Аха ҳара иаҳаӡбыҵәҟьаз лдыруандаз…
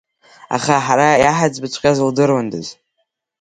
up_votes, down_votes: 3, 1